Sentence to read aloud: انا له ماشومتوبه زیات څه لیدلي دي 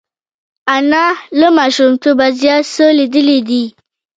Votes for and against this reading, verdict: 1, 2, rejected